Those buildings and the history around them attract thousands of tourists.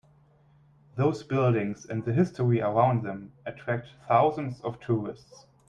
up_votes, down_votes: 1, 2